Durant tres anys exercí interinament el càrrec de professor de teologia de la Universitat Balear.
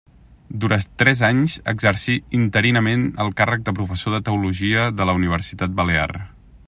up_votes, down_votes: 1, 2